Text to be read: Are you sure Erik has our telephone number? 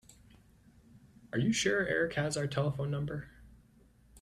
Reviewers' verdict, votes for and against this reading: accepted, 2, 0